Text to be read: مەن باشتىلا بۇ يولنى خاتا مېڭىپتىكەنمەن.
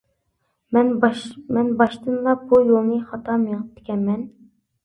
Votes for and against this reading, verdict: 0, 2, rejected